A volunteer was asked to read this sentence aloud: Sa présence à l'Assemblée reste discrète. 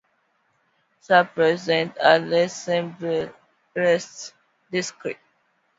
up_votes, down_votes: 2, 0